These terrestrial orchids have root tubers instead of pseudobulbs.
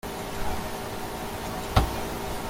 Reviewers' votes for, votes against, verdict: 0, 2, rejected